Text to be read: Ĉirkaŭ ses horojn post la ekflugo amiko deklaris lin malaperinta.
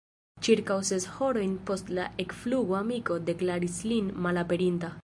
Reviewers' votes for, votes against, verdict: 0, 2, rejected